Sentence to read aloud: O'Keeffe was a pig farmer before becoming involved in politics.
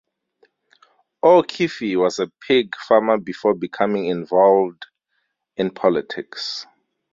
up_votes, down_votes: 2, 4